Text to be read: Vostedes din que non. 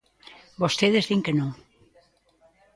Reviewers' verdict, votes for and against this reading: accepted, 2, 0